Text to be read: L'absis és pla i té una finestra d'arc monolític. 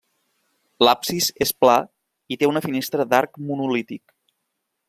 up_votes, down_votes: 1, 2